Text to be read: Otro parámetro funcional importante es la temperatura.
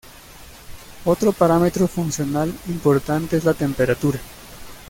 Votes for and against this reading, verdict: 2, 0, accepted